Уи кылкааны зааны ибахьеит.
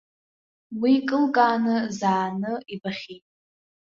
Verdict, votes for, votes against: rejected, 0, 2